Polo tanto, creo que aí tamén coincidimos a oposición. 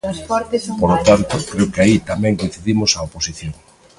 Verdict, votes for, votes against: rejected, 0, 2